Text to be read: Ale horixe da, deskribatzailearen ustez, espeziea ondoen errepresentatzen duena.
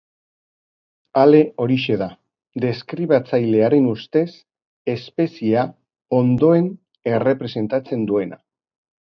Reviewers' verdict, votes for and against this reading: accepted, 3, 0